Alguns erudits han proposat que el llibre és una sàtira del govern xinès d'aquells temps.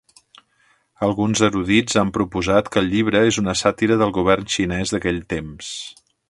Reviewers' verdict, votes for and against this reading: rejected, 1, 2